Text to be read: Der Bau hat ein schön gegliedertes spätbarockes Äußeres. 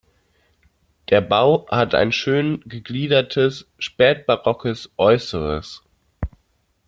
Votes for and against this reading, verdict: 2, 0, accepted